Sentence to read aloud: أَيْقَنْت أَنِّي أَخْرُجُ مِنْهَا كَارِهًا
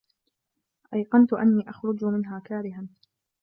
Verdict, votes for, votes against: rejected, 1, 2